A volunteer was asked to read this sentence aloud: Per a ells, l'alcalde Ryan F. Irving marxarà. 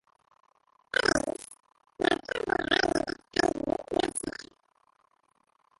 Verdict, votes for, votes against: rejected, 1, 2